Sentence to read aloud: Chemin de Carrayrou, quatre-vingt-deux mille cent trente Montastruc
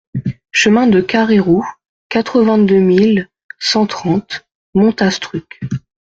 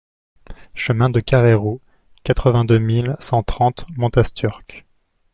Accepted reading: first